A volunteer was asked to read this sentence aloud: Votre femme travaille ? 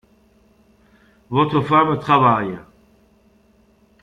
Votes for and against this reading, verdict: 0, 2, rejected